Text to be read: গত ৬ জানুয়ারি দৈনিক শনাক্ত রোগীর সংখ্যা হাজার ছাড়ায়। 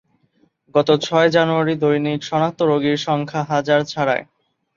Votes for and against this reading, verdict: 0, 2, rejected